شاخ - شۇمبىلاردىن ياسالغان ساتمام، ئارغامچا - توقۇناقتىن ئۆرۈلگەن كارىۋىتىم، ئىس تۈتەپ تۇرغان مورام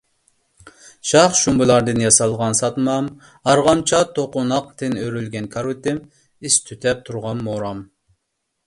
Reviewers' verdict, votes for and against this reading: accepted, 2, 0